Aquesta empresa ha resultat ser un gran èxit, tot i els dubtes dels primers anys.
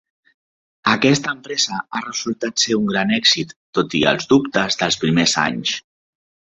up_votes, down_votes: 3, 0